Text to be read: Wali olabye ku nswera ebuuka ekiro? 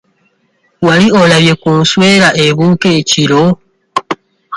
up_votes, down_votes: 1, 2